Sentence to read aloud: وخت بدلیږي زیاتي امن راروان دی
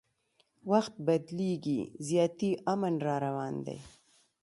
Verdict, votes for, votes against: accepted, 2, 1